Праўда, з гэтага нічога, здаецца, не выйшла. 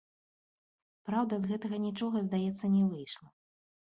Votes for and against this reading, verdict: 2, 0, accepted